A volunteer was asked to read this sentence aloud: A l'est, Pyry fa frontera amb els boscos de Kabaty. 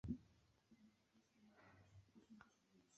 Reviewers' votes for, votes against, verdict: 0, 2, rejected